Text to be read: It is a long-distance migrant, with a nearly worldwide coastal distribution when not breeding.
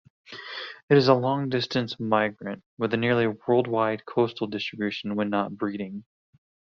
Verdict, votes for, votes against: accepted, 2, 0